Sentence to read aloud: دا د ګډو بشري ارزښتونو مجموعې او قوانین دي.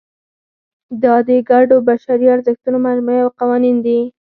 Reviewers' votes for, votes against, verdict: 4, 0, accepted